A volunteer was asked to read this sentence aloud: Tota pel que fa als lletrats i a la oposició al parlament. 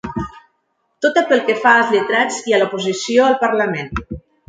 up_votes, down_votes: 0, 2